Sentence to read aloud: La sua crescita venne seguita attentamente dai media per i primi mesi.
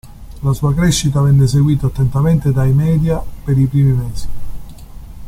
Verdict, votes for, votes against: accepted, 2, 0